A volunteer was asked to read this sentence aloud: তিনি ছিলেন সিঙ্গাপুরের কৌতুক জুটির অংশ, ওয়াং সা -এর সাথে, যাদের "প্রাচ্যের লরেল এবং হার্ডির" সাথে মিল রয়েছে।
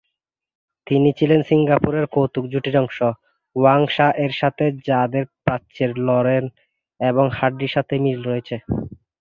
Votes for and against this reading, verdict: 3, 0, accepted